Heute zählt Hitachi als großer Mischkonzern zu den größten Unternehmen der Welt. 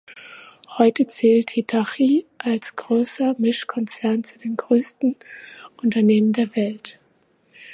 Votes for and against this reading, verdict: 2, 1, accepted